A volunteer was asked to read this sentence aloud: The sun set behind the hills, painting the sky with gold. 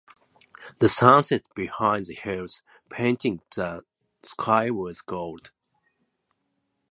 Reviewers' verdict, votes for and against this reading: accepted, 2, 0